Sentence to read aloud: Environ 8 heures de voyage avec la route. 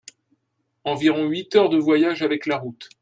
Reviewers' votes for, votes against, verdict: 0, 2, rejected